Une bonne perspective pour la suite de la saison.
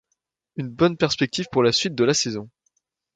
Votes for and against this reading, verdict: 2, 0, accepted